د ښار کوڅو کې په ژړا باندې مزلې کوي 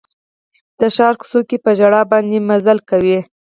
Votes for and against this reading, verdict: 4, 2, accepted